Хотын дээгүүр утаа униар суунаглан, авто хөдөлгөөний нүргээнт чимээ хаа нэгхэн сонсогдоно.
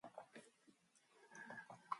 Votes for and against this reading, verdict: 2, 2, rejected